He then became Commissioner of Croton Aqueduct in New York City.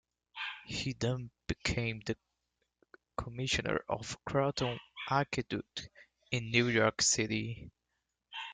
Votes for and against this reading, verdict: 0, 2, rejected